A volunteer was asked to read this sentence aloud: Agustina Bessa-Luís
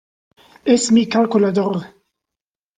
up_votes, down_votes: 0, 2